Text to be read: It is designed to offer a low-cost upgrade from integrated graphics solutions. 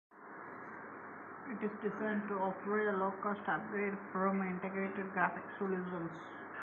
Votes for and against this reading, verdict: 1, 2, rejected